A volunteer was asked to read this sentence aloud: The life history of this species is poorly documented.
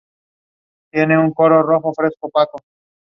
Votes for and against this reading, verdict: 0, 2, rejected